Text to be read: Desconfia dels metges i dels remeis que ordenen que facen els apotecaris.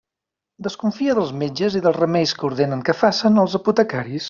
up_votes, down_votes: 4, 0